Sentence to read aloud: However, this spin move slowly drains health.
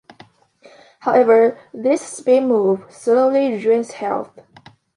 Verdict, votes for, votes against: accepted, 2, 0